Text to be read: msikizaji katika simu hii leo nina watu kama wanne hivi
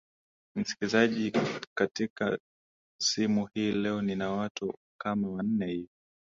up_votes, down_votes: 2, 0